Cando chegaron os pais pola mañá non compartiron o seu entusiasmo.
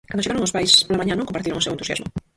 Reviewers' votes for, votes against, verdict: 0, 4, rejected